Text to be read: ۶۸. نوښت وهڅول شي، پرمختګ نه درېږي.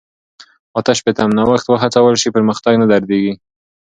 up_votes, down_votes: 0, 2